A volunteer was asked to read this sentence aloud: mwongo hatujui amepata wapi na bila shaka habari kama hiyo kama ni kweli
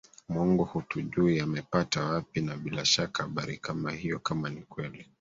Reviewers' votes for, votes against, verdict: 1, 2, rejected